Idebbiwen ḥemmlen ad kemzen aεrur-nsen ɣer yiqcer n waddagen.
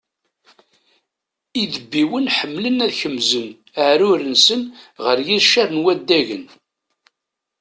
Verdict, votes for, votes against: accepted, 2, 0